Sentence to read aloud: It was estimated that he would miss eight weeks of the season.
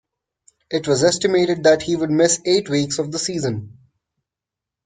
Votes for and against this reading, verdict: 2, 0, accepted